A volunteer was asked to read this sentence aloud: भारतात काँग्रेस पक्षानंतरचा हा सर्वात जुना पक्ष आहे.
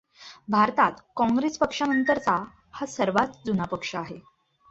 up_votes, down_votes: 2, 0